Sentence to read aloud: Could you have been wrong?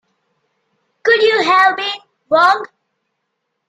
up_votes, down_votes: 1, 2